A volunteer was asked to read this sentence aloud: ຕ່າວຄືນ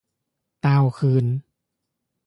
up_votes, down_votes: 2, 0